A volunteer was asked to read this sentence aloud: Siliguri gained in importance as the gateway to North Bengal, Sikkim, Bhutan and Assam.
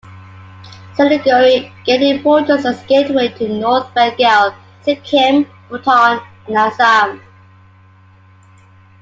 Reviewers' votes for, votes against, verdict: 0, 2, rejected